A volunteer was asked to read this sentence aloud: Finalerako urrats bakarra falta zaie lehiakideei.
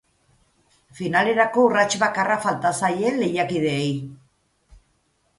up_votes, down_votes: 8, 0